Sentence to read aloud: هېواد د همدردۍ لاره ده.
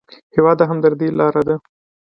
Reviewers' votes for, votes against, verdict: 2, 0, accepted